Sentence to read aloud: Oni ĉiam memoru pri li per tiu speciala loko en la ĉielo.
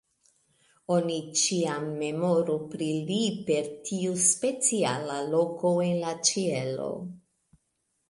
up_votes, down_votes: 0, 2